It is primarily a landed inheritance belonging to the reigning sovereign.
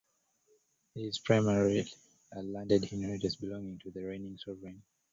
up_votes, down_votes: 0, 2